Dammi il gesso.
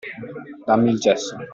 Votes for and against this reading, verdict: 2, 0, accepted